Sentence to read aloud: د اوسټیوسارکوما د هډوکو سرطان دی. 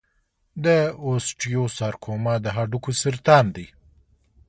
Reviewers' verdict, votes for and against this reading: accepted, 2, 0